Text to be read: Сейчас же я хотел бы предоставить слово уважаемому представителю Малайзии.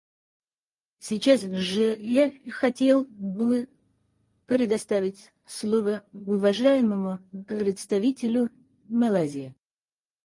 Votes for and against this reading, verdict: 2, 4, rejected